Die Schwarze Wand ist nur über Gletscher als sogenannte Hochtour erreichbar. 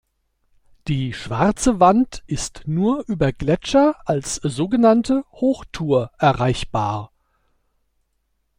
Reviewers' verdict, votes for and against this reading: accepted, 2, 0